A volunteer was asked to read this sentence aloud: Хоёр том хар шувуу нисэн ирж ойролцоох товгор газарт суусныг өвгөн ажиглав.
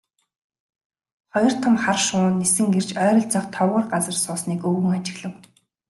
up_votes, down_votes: 2, 1